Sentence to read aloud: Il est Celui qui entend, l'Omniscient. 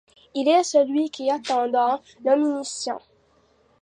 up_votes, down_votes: 0, 3